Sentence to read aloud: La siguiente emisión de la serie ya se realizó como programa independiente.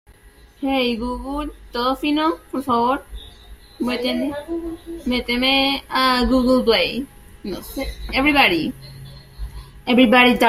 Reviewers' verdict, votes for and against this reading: rejected, 0, 2